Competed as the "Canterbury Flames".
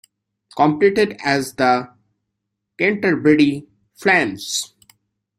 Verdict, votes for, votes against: accepted, 2, 1